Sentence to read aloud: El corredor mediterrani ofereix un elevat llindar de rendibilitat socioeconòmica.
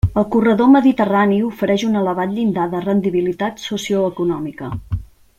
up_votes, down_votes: 2, 0